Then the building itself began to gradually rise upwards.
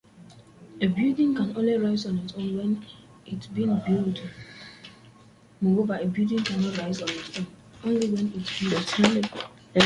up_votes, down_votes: 0, 2